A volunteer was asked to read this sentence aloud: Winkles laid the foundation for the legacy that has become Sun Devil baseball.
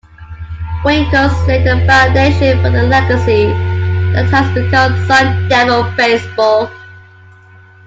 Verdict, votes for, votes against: rejected, 0, 2